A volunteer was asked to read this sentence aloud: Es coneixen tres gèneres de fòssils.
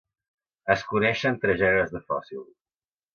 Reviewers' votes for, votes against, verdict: 2, 0, accepted